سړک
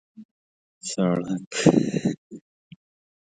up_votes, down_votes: 0, 2